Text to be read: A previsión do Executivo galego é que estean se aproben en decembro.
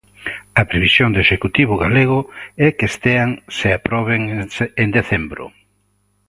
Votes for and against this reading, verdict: 1, 2, rejected